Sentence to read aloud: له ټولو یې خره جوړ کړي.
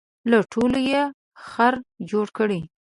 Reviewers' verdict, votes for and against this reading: rejected, 1, 2